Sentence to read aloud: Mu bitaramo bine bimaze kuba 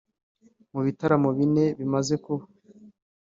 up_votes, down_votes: 2, 0